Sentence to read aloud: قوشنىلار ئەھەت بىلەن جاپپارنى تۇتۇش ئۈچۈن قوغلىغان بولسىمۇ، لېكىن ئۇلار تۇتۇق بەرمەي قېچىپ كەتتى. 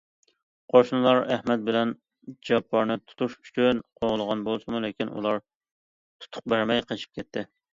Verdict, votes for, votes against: accepted, 2, 1